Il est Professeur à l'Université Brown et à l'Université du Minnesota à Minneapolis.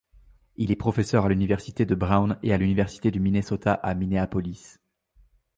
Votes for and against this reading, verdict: 0, 2, rejected